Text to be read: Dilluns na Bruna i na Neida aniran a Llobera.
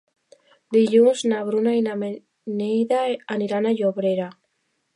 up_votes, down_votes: 1, 2